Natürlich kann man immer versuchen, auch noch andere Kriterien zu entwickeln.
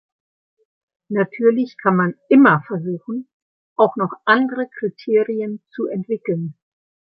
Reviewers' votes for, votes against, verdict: 2, 0, accepted